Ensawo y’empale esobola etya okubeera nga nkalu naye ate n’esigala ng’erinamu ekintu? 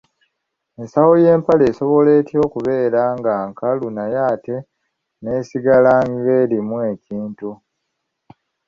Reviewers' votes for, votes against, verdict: 1, 2, rejected